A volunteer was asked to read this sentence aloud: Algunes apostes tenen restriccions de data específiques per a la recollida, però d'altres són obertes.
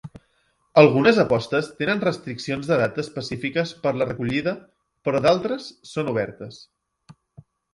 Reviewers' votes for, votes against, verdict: 1, 2, rejected